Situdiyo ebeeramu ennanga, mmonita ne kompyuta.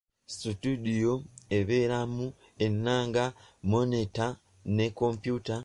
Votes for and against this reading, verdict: 0, 2, rejected